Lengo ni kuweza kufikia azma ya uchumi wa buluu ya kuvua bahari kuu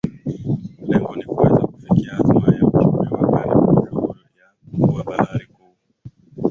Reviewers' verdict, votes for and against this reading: rejected, 0, 2